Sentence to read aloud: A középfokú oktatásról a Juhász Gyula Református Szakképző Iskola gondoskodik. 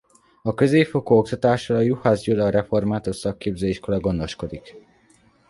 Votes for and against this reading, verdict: 2, 0, accepted